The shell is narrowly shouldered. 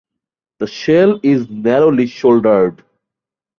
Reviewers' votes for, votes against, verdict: 2, 0, accepted